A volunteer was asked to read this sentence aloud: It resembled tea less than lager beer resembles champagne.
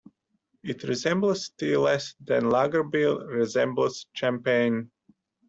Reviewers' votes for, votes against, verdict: 0, 2, rejected